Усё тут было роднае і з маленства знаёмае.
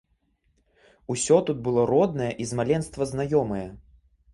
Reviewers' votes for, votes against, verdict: 2, 0, accepted